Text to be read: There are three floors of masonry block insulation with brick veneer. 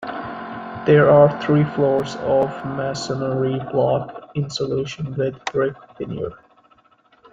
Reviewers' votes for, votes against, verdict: 0, 2, rejected